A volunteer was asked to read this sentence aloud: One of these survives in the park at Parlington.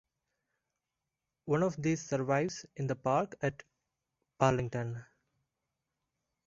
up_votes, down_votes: 2, 0